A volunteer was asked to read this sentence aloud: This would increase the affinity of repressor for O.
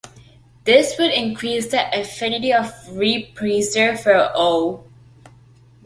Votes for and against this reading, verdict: 2, 0, accepted